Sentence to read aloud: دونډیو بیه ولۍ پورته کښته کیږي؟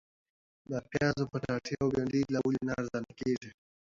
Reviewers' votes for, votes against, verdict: 0, 2, rejected